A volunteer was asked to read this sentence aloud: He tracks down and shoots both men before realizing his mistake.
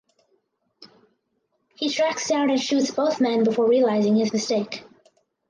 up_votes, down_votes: 4, 0